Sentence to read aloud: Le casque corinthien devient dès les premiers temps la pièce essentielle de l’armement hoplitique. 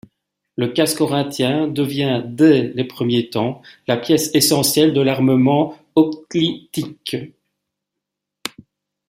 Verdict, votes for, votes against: accepted, 2, 0